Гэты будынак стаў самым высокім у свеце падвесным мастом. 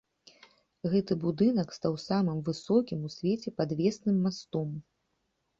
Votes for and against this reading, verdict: 2, 0, accepted